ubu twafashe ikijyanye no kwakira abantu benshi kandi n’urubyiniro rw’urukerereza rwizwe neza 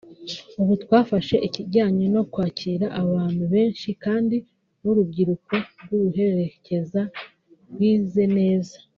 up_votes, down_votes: 0, 2